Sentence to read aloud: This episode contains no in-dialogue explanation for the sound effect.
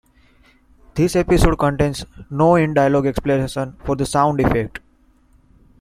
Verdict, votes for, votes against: accepted, 2, 0